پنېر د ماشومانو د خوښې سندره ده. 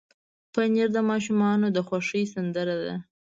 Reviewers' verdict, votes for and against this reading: accepted, 2, 0